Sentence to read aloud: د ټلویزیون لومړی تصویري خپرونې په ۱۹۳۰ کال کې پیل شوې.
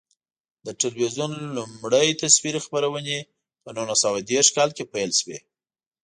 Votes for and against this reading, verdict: 0, 2, rejected